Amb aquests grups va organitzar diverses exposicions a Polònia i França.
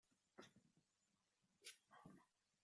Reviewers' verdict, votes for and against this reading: rejected, 0, 2